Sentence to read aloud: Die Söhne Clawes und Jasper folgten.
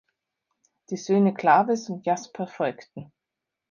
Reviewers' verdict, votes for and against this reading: accepted, 2, 0